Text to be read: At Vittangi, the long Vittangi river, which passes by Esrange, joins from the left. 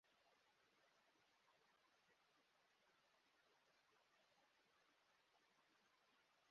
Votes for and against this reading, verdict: 0, 2, rejected